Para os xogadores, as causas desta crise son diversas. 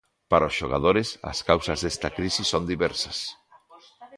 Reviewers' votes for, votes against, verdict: 2, 0, accepted